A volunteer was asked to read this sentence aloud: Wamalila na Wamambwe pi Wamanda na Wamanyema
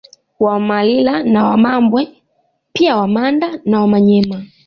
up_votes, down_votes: 2, 0